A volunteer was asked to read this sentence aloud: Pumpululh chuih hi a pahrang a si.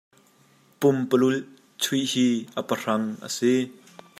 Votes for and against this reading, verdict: 2, 0, accepted